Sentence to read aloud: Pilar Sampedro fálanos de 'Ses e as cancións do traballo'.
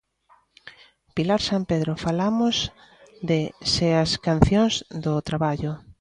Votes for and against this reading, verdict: 0, 2, rejected